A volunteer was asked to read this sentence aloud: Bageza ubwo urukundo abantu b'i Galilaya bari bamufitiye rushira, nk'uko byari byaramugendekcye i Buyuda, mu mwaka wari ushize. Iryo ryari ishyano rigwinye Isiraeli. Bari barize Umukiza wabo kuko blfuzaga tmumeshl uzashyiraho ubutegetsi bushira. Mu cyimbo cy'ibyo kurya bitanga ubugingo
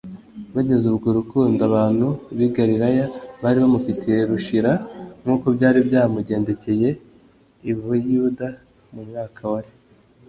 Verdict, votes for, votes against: rejected, 0, 2